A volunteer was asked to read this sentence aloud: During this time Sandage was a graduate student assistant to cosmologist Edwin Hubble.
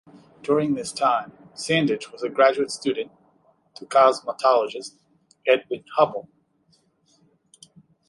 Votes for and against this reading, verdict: 0, 2, rejected